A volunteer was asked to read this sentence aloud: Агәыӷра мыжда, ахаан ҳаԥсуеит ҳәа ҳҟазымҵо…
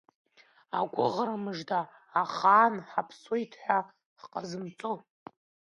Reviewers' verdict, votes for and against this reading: accepted, 2, 0